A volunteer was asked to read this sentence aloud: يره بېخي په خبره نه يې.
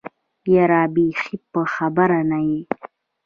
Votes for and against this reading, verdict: 2, 1, accepted